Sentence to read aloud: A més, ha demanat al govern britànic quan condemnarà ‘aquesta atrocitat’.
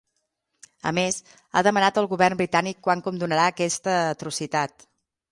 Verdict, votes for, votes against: rejected, 3, 6